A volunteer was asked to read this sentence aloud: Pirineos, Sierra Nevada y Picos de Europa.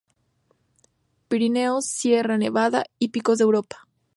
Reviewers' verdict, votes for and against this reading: accepted, 2, 0